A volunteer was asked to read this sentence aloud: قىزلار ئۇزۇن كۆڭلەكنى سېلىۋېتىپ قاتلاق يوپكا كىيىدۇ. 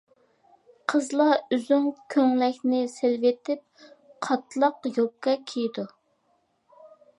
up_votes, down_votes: 0, 2